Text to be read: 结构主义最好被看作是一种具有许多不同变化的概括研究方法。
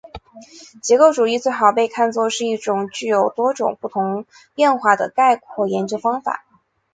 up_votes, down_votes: 1, 2